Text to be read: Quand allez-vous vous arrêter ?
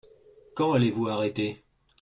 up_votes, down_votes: 0, 2